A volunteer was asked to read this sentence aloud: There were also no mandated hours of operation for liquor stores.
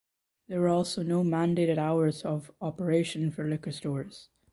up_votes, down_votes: 2, 0